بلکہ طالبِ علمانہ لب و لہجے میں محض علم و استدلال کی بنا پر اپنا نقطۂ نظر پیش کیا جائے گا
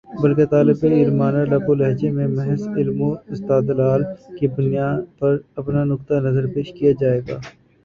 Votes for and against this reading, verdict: 2, 5, rejected